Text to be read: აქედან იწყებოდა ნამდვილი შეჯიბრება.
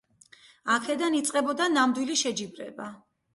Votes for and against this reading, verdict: 0, 2, rejected